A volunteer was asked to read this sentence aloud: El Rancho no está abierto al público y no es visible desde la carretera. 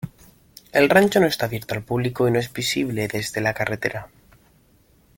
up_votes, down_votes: 2, 1